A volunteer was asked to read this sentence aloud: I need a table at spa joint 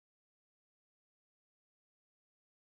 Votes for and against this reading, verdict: 0, 3, rejected